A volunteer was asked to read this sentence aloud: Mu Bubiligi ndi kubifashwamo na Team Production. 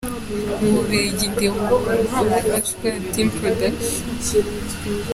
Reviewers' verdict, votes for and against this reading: rejected, 1, 2